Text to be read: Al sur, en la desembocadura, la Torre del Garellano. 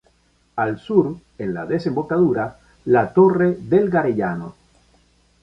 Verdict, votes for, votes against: accepted, 2, 0